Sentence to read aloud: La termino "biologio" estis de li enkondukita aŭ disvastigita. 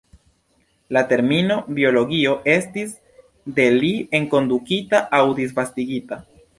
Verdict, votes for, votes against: accepted, 2, 0